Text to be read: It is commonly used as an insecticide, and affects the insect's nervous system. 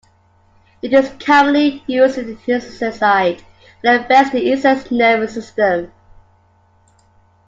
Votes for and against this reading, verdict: 0, 2, rejected